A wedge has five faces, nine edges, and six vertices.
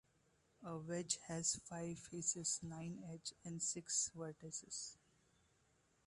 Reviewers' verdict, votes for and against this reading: accepted, 2, 0